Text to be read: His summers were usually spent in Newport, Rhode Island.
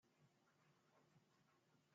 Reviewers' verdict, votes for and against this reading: rejected, 0, 2